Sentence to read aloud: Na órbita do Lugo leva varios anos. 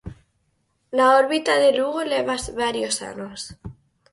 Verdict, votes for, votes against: rejected, 0, 4